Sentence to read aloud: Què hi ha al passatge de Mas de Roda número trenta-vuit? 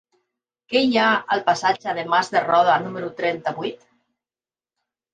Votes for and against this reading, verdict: 3, 0, accepted